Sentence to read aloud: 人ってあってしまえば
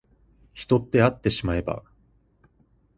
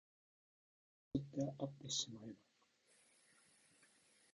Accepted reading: first